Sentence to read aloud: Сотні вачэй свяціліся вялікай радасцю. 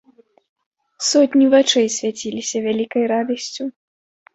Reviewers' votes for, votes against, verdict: 2, 0, accepted